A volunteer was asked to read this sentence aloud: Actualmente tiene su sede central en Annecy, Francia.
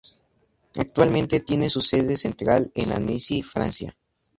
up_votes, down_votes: 2, 4